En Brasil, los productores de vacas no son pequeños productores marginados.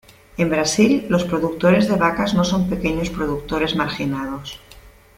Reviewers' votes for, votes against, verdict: 2, 0, accepted